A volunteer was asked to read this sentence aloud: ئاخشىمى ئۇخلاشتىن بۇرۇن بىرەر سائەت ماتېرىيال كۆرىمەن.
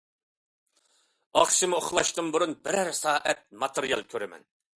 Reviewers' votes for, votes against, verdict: 2, 0, accepted